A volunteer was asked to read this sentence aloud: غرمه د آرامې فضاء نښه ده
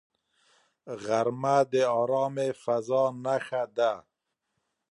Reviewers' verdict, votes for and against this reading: accepted, 2, 0